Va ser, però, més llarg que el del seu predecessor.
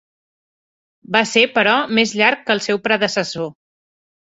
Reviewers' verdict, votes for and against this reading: rejected, 1, 5